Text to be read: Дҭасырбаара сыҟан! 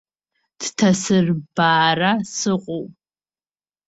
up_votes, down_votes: 1, 2